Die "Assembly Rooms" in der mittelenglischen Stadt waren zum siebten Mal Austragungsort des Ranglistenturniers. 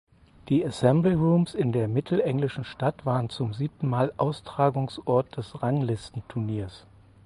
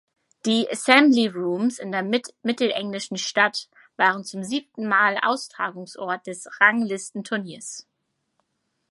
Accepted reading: first